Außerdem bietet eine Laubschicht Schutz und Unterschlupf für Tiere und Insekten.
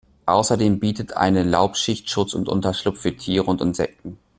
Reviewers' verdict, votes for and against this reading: accepted, 2, 0